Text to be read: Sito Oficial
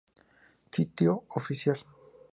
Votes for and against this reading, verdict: 2, 0, accepted